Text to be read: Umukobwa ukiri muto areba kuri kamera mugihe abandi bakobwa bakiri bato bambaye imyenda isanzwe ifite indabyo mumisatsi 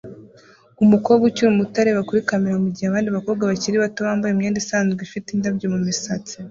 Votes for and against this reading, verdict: 1, 2, rejected